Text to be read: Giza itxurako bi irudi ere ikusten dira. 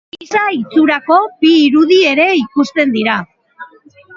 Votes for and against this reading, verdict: 2, 13, rejected